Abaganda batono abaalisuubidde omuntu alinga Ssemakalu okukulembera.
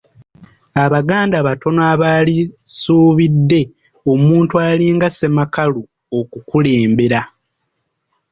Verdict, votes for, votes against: rejected, 1, 2